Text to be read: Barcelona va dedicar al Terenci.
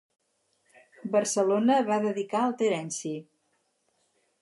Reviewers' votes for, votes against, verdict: 4, 0, accepted